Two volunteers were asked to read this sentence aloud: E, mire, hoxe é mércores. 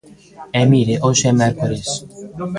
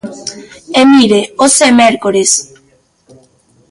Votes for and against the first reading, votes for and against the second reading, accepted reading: 1, 2, 2, 1, second